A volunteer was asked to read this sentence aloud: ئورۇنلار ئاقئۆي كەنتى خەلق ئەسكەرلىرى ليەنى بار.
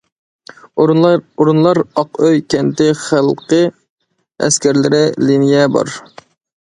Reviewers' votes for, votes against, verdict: 0, 2, rejected